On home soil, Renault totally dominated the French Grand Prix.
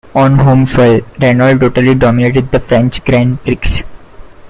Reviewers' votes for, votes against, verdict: 0, 2, rejected